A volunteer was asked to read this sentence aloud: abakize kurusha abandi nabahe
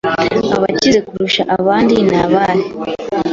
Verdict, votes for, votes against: accepted, 2, 0